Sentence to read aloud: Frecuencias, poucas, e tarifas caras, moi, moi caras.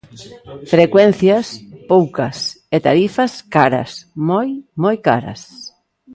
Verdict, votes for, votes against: accepted, 2, 0